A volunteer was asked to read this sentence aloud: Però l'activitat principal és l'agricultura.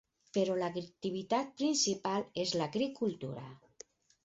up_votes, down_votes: 4, 6